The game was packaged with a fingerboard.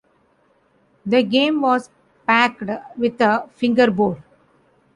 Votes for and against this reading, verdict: 0, 2, rejected